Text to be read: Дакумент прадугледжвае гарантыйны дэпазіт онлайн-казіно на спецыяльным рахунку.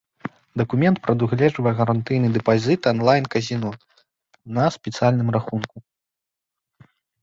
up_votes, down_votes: 0, 2